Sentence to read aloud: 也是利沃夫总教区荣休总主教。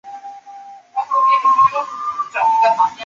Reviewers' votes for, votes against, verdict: 0, 2, rejected